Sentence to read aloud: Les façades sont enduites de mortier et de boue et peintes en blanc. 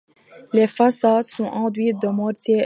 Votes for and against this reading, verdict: 0, 2, rejected